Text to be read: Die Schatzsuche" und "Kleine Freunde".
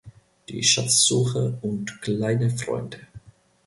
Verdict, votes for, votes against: rejected, 0, 2